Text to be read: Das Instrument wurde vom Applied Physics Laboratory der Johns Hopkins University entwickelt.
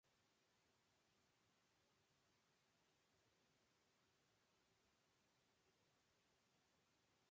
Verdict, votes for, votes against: rejected, 0, 2